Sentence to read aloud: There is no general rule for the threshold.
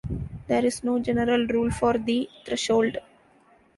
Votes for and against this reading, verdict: 3, 0, accepted